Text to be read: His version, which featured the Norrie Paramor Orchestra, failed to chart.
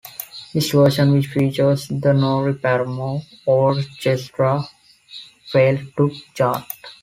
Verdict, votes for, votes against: rejected, 0, 2